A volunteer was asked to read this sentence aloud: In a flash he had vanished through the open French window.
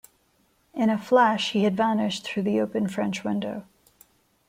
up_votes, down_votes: 2, 0